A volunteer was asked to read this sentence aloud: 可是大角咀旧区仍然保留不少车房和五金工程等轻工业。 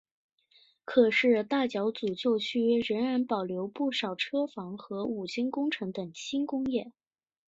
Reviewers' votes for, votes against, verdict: 3, 0, accepted